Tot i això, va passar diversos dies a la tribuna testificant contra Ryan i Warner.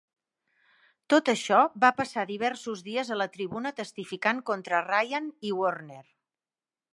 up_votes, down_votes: 1, 3